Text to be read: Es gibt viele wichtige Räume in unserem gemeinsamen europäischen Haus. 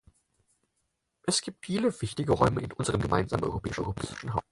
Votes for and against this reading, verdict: 0, 6, rejected